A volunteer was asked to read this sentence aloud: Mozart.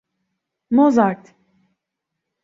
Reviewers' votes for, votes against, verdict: 2, 1, accepted